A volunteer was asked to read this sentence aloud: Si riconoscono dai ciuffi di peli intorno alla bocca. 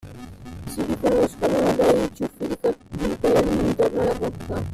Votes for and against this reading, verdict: 0, 2, rejected